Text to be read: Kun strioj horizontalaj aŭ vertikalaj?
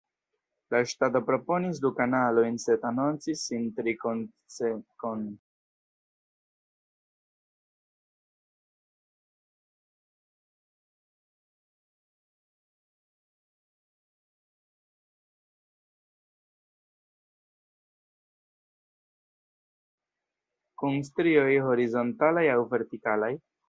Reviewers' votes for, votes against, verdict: 0, 2, rejected